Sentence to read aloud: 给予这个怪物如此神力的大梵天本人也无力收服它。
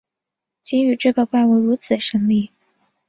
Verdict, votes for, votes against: rejected, 0, 5